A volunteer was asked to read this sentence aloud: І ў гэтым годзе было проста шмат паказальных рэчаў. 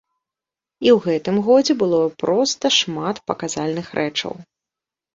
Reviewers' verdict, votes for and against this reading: accepted, 2, 0